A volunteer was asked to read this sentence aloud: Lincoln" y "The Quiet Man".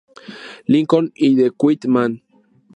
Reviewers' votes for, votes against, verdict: 0, 2, rejected